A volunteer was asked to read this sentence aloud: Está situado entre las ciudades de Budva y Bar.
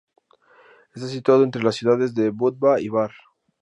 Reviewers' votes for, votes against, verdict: 2, 0, accepted